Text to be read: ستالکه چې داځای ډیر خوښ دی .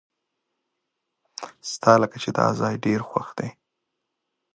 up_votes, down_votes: 4, 0